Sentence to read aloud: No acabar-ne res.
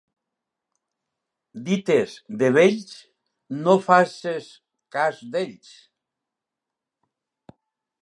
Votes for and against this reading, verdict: 1, 2, rejected